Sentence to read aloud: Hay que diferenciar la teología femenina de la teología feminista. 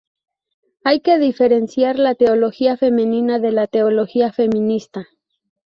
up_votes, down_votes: 4, 0